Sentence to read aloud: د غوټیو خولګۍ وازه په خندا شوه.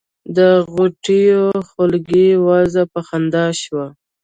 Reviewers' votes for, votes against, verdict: 3, 0, accepted